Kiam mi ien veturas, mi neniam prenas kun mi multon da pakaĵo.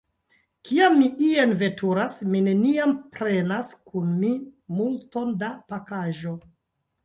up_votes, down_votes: 0, 2